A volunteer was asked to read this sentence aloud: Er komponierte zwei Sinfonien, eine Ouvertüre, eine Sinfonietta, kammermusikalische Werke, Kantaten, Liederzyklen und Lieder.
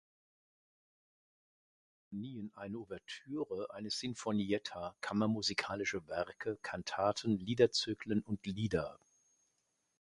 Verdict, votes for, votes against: rejected, 0, 2